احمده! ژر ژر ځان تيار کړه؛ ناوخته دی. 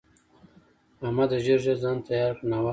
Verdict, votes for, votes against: accepted, 2, 0